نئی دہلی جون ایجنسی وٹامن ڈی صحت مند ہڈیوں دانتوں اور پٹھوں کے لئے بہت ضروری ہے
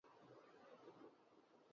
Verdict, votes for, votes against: rejected, 0, 3